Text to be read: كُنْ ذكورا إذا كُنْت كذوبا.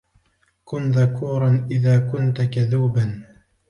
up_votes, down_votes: 3, 0